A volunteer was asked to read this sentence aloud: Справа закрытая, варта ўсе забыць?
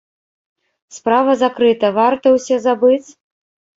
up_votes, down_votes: 0, 2